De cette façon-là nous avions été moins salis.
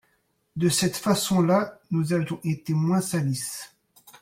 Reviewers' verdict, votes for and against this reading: rejected, 0, 2